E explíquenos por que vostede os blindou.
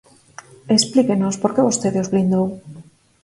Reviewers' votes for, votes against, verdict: 4, 0, accepted